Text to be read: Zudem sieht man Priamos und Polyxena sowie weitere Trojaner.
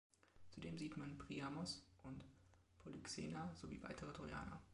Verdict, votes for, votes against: rejected, 1, 2